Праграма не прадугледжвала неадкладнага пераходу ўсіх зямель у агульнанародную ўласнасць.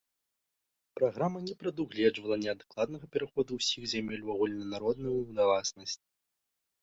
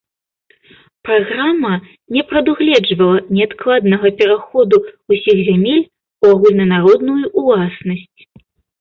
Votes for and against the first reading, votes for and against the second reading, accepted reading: 0, 3, 2, 0, second